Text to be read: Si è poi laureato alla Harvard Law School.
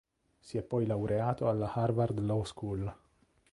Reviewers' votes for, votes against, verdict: 2, 0, accepted